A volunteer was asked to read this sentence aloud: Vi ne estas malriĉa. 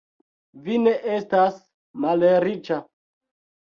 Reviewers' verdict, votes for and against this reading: accepted, 3, 2